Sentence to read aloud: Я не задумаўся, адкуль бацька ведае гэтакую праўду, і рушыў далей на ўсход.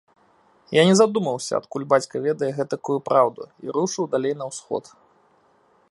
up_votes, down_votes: 2, 0